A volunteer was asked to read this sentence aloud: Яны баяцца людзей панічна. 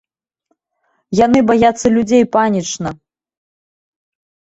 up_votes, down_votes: 0, 2